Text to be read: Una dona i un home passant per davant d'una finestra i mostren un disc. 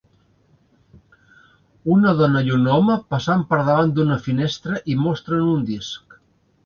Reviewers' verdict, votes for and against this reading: accepted, 2, 0